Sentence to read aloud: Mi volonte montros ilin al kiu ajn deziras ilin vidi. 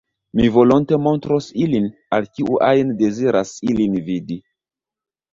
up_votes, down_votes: 0, 2